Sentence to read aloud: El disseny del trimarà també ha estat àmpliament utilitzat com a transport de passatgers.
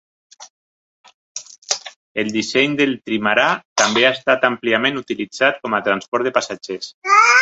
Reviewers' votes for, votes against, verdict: 2, 1, accepted